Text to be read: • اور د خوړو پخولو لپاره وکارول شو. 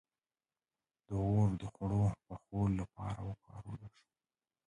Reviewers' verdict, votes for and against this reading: rejected, 1, 2